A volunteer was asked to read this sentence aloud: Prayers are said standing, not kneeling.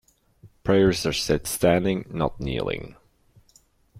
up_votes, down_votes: 2, 0